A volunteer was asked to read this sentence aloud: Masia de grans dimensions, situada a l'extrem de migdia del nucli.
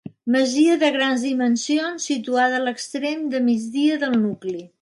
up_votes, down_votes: 3, 0